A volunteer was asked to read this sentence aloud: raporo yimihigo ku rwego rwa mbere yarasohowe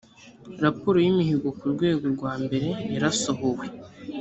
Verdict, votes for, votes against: accepted, 2, 0